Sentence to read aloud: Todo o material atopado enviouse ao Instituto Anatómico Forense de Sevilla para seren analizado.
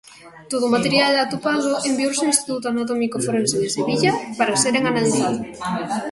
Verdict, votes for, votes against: rejected, 1, 2